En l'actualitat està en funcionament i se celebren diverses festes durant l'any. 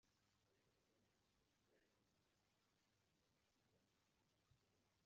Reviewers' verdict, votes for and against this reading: rejected, 0, 2